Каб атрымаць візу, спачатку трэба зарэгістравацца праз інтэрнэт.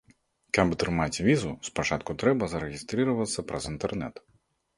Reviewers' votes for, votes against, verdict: 2, 1, accepted